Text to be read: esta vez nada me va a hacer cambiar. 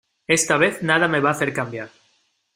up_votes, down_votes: 2, 0